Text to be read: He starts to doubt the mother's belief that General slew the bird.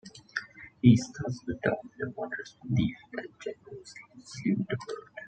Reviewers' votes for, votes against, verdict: 1, 2, rejected